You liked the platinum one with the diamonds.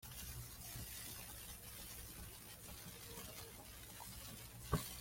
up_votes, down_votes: 0, 2